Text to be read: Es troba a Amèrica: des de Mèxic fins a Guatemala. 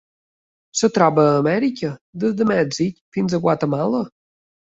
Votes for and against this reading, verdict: 1, 2, rejected